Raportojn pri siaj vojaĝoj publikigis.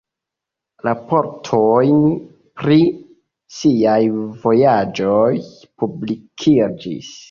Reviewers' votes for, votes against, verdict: 1, 2, rejected